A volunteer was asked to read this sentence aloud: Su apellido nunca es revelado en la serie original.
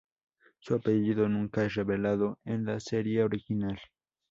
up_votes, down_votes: 2, 0